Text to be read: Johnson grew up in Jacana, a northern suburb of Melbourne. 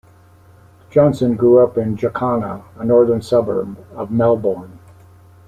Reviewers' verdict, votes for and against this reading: rejected, 1, 2